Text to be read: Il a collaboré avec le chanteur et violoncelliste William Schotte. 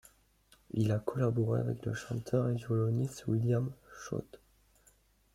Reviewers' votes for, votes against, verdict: 1, 2, rejected